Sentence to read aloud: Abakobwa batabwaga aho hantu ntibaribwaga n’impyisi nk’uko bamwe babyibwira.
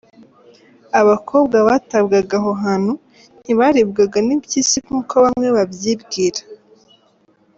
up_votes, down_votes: 2, 0